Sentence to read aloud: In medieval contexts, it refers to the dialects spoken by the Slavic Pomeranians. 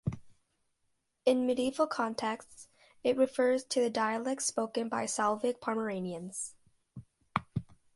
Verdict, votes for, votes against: rejected, 1, 2